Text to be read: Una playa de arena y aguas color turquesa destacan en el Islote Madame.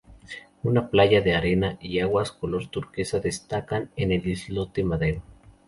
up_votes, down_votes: 0, 2